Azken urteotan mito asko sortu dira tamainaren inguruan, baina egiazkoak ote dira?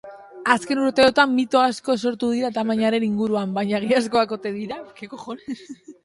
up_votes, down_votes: 0, 2